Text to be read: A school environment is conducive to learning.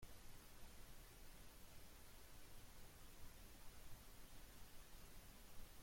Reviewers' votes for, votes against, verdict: 0, 2, rejected